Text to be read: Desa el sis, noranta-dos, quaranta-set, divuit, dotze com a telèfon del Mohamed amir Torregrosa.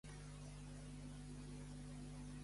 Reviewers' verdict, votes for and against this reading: rejected, 0, 2